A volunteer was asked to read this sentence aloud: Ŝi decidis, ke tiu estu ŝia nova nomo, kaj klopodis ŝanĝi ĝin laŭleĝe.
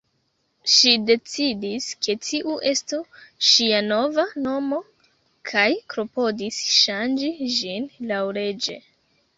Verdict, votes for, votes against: rejected, 1, 2